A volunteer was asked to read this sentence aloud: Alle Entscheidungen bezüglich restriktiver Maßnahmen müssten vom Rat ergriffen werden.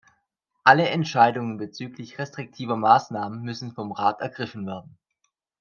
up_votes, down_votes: 2, 0